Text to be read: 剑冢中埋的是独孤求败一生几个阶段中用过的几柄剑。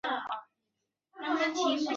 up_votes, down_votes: 0, 4